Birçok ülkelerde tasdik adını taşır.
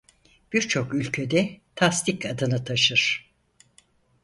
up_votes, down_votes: 0, 4